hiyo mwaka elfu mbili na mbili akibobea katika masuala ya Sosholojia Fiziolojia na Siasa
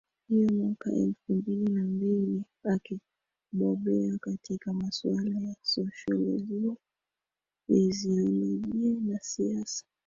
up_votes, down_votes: 1, 2